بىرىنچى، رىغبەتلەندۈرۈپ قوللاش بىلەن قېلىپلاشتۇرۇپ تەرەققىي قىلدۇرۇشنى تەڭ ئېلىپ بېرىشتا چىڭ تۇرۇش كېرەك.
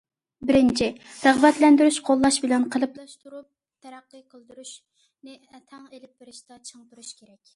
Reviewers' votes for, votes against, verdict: 0, 2, rejected